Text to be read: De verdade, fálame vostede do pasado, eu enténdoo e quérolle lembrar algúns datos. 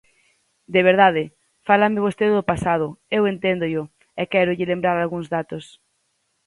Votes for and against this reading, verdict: 2, 4, rejected